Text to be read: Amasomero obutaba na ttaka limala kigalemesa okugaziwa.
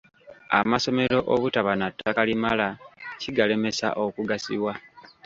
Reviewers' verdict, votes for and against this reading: accepted, 3, 0